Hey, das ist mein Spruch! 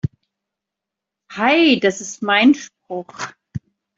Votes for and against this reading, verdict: 0, 2, rejected